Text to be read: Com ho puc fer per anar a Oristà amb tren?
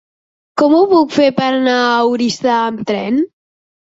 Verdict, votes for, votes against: accepted, 3, 0